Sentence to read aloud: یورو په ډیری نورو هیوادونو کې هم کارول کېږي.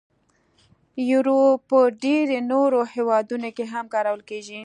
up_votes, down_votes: 3, 0